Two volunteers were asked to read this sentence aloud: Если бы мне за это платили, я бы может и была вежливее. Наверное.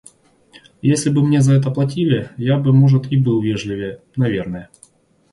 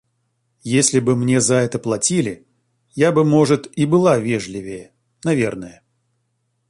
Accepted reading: second